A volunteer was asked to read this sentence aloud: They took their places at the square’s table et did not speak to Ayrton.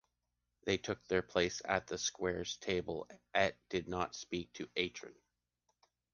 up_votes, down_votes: 0, 2